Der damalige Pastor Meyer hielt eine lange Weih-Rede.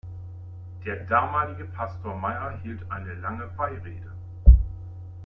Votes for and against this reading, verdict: 1, 2, rejected